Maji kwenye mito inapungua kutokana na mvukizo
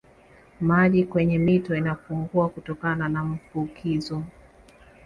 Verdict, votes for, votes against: accepted, 2, 0